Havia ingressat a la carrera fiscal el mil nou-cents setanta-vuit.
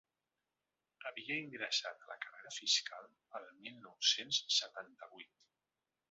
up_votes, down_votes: 3, 0